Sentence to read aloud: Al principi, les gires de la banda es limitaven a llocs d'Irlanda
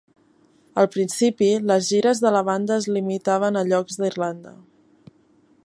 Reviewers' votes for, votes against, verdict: 3, 0, accepted